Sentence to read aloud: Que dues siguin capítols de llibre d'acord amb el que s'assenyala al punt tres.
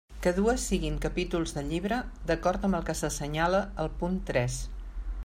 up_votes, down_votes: 2, 0